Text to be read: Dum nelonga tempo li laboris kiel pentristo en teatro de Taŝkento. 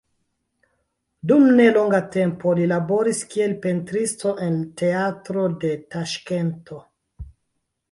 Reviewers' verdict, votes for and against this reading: accepted, 3, 1